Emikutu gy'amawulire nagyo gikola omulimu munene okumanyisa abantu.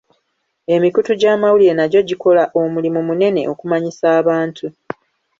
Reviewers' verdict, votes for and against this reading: accepted, 2, 0